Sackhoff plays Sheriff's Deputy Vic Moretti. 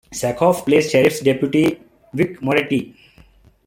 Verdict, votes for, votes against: accepted, 2, 0